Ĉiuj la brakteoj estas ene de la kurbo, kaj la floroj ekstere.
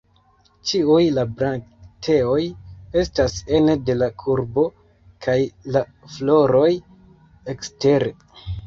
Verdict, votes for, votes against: rejected, 0, 2